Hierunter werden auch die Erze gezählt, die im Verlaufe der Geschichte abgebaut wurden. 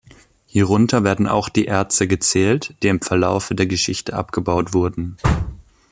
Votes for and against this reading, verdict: 2, 0, accepted